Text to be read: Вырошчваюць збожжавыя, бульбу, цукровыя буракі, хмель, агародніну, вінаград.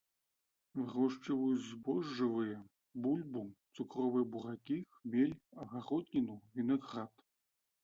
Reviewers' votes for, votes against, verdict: 1, 2, rejected